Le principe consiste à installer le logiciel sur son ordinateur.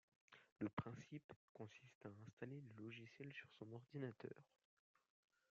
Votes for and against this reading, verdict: 2, 1, accepted